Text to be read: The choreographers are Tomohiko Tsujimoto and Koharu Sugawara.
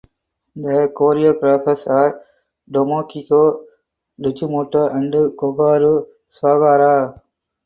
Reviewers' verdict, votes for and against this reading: rejected, 2, 2